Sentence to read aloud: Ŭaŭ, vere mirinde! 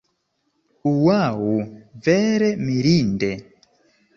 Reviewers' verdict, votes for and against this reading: accepted, 2, 0